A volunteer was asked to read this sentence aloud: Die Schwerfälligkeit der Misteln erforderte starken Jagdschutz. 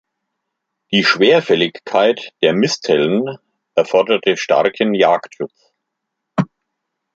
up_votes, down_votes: 1, 3